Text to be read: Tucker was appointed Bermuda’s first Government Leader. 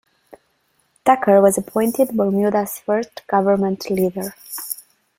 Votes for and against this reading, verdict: 2, 0, accepted